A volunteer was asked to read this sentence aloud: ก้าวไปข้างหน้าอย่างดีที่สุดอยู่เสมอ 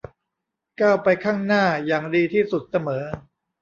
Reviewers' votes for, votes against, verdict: 1, 2, rejected